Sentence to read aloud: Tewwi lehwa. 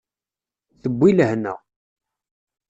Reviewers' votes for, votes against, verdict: 0, 2, rejected